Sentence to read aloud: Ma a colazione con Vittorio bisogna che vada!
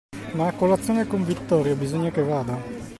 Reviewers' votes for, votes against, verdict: 2, 0, accepted